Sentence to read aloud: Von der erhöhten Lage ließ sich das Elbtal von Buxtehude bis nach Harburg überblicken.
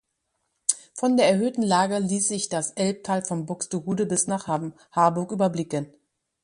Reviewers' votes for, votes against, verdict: 1, 2, rejected